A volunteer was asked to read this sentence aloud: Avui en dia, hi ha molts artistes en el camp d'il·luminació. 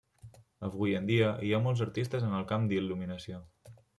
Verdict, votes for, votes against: accepted, 3, 0